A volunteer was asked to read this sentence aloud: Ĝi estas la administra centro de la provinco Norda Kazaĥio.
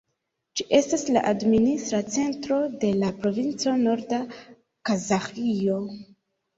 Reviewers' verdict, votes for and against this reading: accepted, 3, 2